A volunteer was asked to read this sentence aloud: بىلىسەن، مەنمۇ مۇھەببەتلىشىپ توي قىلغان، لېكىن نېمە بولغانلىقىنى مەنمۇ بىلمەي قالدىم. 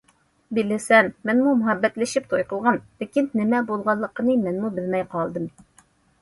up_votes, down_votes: 2, 0